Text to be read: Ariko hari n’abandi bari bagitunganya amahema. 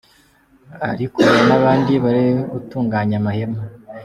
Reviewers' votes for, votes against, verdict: 2, 1, accepted